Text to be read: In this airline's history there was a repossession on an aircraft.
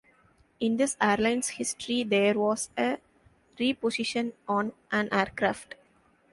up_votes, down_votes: 0, 2